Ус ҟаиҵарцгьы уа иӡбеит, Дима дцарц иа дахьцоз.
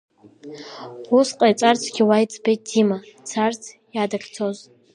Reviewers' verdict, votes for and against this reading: accepted, 2, 1